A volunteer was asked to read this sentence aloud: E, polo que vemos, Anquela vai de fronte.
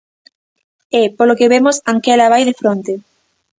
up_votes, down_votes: 2, 0